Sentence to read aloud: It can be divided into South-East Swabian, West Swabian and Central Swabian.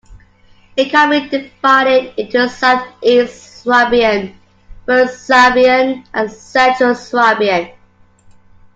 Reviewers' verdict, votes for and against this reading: accepted, 2, 1